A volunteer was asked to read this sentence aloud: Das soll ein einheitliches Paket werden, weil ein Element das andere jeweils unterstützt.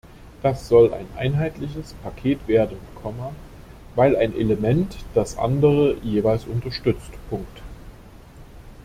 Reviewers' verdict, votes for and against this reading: rejected, 0, 2